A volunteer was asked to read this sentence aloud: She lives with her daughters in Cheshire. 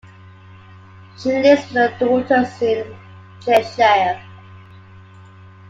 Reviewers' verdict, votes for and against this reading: accepted, 2, 1